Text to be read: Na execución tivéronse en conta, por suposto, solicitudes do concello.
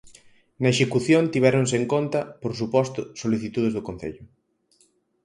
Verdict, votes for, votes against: accepted, 4, 0